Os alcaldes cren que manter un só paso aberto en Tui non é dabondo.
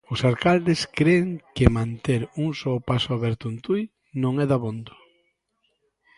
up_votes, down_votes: 2, 0